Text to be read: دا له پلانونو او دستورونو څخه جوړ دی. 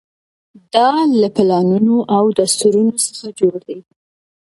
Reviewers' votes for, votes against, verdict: 2, 0, accepted